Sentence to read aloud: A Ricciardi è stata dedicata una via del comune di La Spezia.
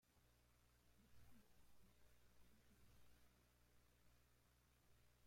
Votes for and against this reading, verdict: 0, 2, rejected